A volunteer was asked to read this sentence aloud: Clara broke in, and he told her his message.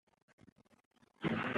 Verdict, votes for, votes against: rejected, 0, 2